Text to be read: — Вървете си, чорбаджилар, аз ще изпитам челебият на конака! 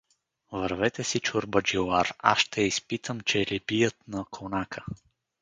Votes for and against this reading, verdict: 2, 2, rejected